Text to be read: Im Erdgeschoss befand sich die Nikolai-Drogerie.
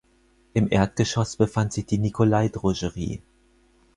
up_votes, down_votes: 0, 4